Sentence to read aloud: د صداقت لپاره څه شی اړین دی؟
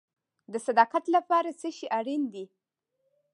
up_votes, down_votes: 2, 1